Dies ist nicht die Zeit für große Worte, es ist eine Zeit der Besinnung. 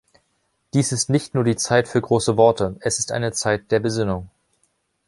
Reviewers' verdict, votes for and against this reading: rejected, 1, 2